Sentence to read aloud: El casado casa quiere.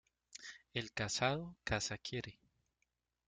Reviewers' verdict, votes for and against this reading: rejected, 0, 2